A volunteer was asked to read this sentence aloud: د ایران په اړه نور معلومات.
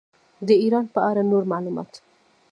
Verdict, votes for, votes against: accepted, 2, 0